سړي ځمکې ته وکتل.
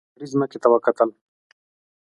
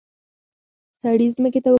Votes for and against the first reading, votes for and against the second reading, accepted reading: 2, 0, 1, 2, first